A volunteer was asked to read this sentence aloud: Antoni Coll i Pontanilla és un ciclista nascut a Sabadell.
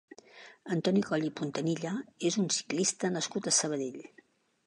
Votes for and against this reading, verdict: 3, 0, accepted